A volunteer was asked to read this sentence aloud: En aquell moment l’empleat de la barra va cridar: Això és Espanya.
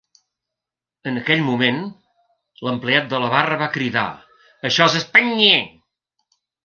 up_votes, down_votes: 0, 2